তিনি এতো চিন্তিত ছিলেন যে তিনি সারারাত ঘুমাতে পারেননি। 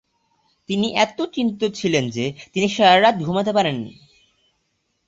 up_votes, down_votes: 2, 0